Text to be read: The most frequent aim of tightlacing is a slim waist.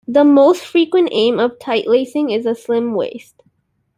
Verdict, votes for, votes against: accepted, 2, 0